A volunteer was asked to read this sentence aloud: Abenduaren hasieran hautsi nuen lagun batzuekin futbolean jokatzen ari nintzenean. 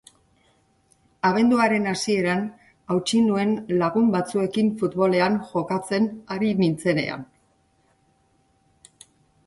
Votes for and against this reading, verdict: 2, 0, accepted